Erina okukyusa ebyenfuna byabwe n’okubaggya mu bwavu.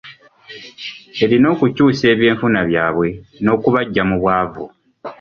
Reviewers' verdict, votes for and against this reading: accepted, 2, 0